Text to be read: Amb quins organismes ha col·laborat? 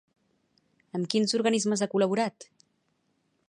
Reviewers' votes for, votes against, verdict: 2, 0, accepted